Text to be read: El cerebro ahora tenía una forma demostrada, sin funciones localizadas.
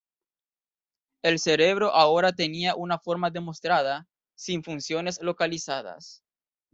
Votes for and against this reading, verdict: 2, 0, accepted